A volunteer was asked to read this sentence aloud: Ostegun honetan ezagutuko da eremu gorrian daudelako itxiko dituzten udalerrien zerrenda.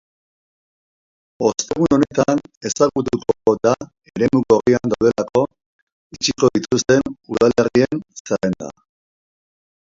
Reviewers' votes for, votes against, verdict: 0, 2, rejected